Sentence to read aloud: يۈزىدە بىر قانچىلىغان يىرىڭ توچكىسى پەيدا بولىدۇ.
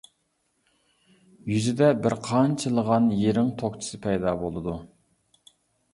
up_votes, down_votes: 1, 2